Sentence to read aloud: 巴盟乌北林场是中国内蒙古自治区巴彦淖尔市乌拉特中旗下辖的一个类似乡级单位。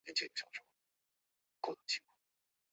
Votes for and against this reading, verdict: 0, 2, rejected